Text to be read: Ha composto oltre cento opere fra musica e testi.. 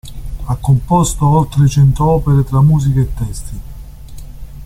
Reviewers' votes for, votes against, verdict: 0, 2, rejected